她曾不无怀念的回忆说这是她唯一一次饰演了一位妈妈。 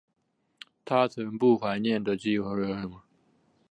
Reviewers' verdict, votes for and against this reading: rejected, 0, 2